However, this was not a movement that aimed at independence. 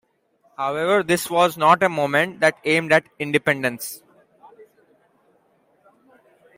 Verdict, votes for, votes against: accepted, 3, 1